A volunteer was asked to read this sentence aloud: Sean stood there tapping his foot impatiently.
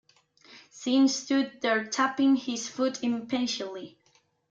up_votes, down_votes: 1, 2